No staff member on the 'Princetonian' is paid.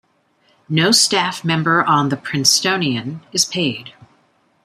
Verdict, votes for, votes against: accepted, 2, 1